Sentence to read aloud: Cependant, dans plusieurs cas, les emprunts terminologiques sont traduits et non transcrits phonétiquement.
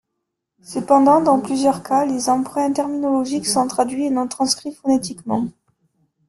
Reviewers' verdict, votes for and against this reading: rejected, 0, 2